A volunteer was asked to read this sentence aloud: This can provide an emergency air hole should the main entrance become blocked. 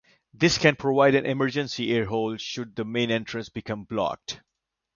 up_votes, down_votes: 2, 0